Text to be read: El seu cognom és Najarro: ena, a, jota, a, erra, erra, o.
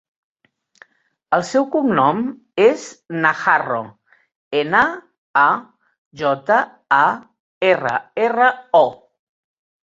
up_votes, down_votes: 2, 0